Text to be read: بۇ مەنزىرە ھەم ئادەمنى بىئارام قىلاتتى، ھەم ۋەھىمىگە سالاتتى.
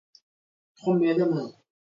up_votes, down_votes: 0, 2